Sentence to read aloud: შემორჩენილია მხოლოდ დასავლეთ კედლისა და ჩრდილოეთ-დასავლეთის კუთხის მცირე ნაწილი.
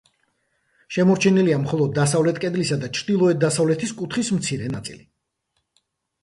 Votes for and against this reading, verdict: 2, 0, accepted